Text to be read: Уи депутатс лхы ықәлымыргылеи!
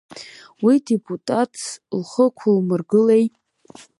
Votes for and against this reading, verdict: 2, 0, accepted